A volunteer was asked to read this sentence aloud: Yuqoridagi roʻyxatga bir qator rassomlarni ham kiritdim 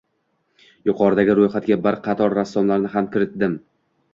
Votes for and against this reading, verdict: 2, 0, accepted